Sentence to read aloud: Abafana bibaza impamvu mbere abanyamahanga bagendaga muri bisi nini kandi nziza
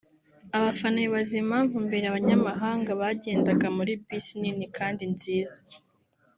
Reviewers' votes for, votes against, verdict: 3, 0, accepted